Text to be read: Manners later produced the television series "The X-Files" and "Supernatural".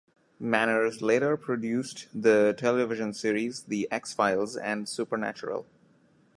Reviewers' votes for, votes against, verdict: 2, 0, accepted